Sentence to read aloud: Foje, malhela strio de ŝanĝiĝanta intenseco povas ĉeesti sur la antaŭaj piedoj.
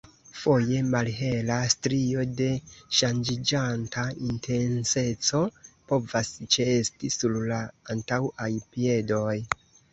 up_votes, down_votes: 2, 0